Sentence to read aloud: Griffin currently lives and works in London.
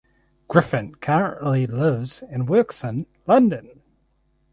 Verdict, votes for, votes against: rejected, 2, 2